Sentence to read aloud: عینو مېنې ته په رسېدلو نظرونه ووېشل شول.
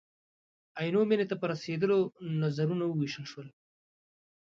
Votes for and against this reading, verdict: 2, 0, accepted